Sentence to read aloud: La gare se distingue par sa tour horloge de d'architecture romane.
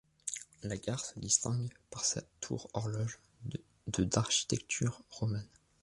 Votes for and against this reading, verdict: 1, 2, rejected